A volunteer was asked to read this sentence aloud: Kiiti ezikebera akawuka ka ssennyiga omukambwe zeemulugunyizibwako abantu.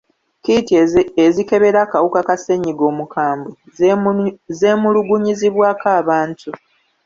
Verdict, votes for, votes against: rejected, 1, 2